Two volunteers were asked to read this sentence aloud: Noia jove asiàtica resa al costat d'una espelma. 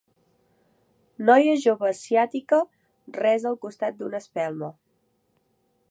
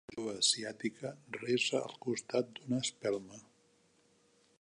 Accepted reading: first